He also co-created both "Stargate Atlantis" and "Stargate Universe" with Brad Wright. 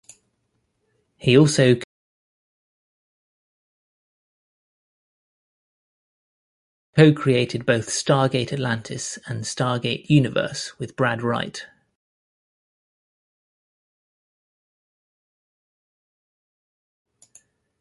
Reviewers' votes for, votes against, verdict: 0, 2, rejected